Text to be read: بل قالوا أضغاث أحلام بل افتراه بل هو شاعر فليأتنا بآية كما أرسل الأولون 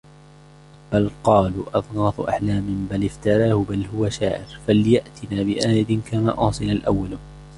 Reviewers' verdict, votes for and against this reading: rejected, 0, 2